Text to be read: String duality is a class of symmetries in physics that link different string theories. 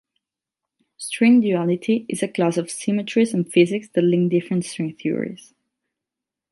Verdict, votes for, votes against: rejected, 0, 4